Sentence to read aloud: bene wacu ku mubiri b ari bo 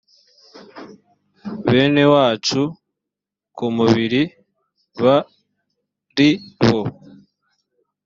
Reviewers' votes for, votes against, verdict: 2, 0, accepted